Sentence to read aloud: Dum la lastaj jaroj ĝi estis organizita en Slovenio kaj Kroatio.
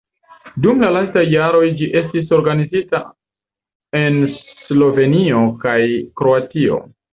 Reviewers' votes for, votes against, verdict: 2, 0, accepted